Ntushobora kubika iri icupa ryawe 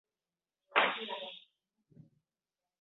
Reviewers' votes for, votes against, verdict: 2, 3, rejected